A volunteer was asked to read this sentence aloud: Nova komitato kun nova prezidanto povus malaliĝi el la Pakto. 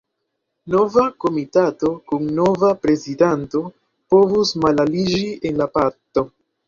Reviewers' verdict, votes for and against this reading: rejected, 1, 2